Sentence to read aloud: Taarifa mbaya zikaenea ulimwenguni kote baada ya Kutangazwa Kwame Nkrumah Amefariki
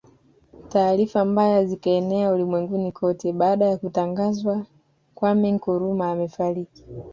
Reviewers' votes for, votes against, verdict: 2, 0, accepted